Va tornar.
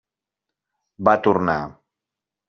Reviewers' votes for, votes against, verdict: 6, 0, accepted